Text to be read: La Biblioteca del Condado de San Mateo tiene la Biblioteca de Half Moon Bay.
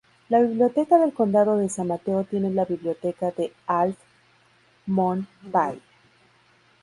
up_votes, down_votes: 0, 2